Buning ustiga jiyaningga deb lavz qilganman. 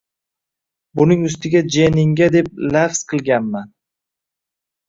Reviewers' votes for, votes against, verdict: 0, 2, rejected